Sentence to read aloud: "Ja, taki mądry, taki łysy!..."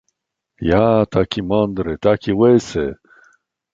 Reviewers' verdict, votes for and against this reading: accepted, 2, 0